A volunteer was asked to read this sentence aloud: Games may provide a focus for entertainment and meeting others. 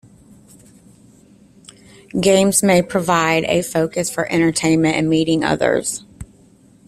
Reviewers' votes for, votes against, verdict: 2, 0, accepted